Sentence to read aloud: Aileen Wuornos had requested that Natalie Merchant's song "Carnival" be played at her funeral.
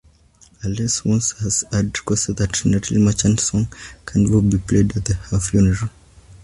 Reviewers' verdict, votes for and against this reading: rejected, 0, 2